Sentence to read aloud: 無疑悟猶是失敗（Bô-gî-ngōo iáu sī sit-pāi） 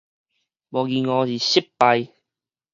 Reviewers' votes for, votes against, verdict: 4, 0, accepted